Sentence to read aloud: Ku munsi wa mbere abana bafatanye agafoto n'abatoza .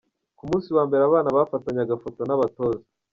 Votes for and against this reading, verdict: 1, 2, rejected